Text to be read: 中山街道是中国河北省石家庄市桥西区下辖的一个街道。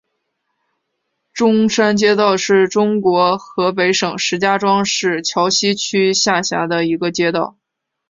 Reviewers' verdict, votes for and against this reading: accepted, 2, 0